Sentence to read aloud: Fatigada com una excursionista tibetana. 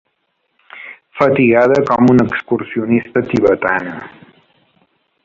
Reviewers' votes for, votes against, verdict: 2, 1, accepted